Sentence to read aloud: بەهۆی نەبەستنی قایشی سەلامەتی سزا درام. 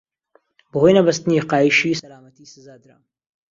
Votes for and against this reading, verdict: 1, 2, rejected